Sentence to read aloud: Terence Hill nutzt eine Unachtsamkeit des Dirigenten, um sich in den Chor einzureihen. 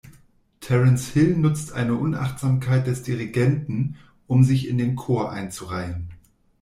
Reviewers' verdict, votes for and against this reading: accepted, 2, 0